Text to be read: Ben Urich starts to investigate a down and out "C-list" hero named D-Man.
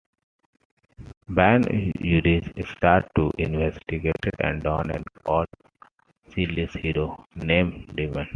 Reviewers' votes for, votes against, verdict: 1, 2, rejected